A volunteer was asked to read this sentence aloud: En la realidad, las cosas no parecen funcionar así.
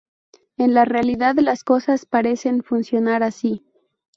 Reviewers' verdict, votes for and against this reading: rejected, 0, 4